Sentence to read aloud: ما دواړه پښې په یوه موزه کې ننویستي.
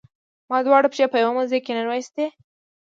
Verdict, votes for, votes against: rejected, 0, 2